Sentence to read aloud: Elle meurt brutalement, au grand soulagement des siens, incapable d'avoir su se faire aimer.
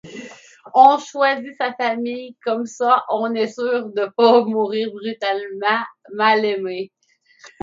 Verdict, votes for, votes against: rejected, 0, 2